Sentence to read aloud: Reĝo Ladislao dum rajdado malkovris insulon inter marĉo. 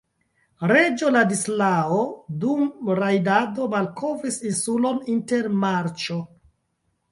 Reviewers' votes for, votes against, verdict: 1, 2, rejected